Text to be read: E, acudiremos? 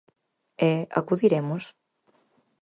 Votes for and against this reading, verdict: 4, 0, accepted